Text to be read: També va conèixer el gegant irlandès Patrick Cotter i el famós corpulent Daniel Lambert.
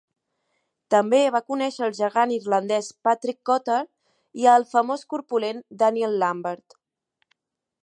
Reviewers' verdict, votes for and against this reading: accepted, 3, 0